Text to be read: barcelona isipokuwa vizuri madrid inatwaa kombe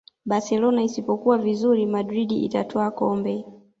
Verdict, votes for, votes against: rejected, 1, 2